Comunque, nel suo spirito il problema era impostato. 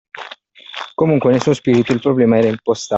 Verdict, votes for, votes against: rejected, 1, 2